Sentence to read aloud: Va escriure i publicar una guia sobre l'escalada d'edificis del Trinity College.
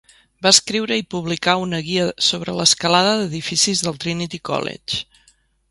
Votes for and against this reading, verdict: 3, 0, accepted